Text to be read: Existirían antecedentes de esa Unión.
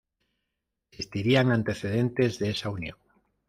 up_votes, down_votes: 2, 1